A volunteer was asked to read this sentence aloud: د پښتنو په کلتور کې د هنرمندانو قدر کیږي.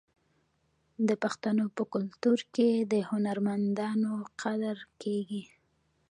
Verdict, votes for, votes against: accepted, 2, 1